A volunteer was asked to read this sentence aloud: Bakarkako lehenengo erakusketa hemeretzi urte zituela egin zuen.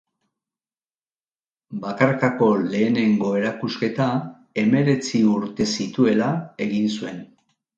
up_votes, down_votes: 3, 0